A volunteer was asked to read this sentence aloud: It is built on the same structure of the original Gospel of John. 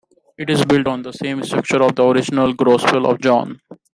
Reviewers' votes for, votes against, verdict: 2, 1, accepted